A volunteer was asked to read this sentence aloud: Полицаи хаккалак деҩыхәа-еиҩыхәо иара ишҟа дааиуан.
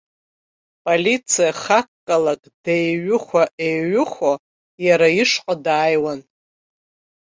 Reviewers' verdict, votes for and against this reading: rejected, 1, 2